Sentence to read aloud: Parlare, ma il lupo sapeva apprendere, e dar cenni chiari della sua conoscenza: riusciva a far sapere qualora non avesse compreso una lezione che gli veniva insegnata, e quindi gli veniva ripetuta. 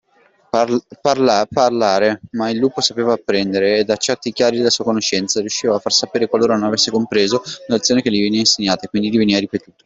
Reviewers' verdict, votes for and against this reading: rejected, 1, 2